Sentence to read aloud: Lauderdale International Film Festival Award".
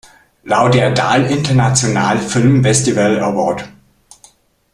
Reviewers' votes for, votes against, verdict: 1, 2, rejected